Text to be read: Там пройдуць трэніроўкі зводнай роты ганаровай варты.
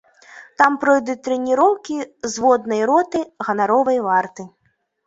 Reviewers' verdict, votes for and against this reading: accepted, 2, 0